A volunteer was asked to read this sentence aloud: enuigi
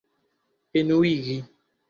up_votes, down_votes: 2, 0